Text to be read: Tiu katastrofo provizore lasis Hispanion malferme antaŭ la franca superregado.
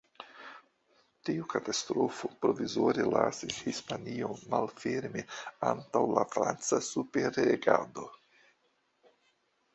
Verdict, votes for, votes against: accepted, 2, 1